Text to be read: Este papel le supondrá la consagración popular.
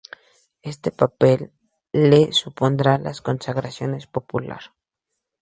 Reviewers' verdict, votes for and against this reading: accepted, 2, 0